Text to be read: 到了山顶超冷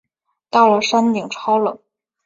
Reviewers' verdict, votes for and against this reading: accepted, 4, 0